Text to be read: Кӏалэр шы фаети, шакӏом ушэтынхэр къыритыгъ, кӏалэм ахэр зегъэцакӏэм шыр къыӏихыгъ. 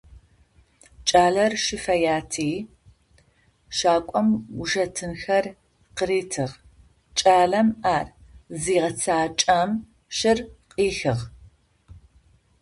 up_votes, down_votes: 0, 2